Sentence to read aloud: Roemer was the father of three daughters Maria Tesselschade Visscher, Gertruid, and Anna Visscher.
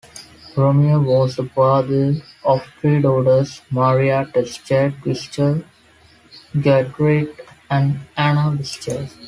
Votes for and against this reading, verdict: 1, 2, rejected